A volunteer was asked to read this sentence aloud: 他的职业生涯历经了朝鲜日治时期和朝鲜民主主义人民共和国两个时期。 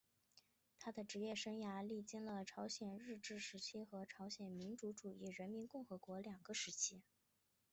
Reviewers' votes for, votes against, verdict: 0, 3, rejected